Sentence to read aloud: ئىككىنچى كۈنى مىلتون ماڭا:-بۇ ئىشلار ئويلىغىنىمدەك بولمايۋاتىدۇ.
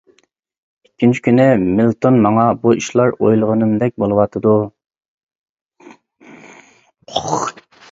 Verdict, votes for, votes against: rejected, 0, 2